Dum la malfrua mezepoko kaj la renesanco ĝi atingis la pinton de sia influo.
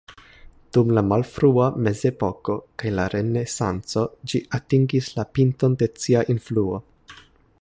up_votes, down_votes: 2, 1